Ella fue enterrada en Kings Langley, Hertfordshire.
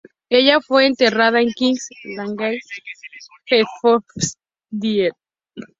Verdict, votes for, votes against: rejected, 0, 2